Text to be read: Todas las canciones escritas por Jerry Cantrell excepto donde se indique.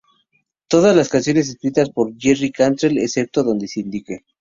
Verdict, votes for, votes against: rejected, 0, 2